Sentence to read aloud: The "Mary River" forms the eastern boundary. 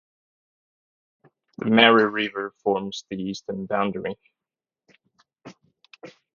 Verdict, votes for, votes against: accepted, 4, 2